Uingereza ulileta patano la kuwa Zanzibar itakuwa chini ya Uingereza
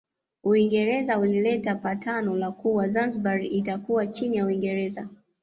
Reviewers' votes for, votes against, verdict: 2, 0, accepted